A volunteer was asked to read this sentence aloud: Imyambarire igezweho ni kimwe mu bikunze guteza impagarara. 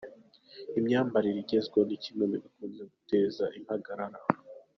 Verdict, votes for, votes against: accepted, 2, 0